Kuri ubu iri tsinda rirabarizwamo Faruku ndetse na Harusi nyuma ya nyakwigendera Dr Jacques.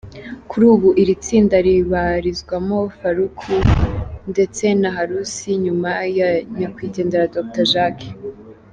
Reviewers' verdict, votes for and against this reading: accepted, 2, 0